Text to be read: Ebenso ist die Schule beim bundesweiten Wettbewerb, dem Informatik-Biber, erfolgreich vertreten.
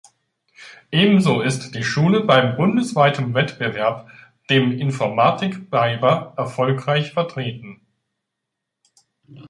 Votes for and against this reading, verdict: 0, 2, rejected